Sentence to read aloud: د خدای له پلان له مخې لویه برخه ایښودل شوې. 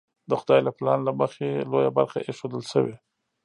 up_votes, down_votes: 2, 0